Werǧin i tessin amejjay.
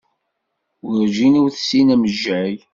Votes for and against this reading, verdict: 0, 2, rejected